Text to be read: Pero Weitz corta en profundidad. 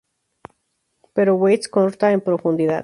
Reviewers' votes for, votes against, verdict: 6, 0, accepted